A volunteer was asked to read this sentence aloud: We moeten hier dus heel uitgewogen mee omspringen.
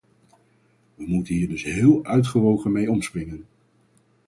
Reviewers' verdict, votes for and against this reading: accepted, 4, 0